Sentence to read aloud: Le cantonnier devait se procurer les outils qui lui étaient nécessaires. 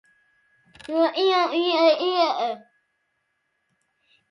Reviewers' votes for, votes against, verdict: 0, 2, rejected